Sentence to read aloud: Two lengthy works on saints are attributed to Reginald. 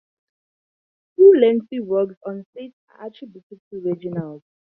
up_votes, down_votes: 0, 2